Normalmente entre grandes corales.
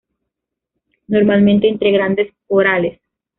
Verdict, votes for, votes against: rejected, 1, 2